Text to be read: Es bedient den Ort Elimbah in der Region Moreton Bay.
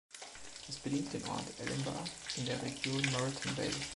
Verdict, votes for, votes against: rejected, 0, 2